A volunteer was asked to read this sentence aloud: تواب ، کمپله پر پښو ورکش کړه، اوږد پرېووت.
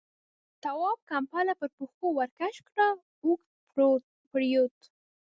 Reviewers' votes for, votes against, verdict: 0, 3, rejected